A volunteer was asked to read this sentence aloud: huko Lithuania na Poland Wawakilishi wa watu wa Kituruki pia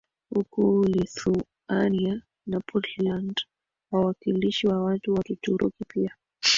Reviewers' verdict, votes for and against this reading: accepted, 3, 1